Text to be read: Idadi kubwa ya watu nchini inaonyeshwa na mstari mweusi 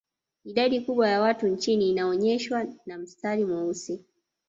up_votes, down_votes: 1, 2